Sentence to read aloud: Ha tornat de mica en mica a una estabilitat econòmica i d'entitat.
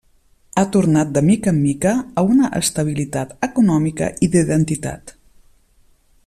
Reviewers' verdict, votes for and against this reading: rejected, 0, 2